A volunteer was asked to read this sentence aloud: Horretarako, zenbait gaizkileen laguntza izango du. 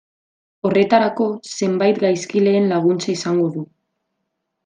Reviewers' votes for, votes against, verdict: 2, 0, accepted